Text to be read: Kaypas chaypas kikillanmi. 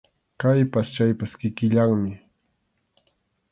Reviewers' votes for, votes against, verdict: 2, 0, accepted